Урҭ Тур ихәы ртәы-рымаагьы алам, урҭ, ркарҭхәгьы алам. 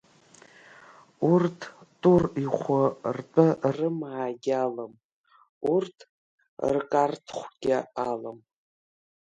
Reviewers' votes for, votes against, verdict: 1, 2, rejected